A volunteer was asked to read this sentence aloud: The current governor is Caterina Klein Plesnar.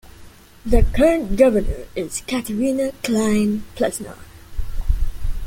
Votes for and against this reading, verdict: 2, 0, accepted